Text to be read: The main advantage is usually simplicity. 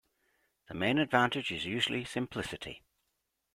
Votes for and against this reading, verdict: 2, 0, accepted